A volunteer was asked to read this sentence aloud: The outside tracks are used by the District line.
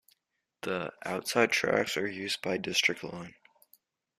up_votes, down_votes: 1, 2